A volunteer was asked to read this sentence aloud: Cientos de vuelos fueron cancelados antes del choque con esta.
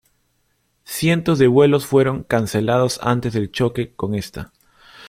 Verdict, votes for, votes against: accepted, 2, 0